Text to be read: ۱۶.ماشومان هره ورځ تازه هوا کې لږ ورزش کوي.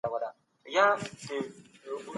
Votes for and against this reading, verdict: 0, 2, rejected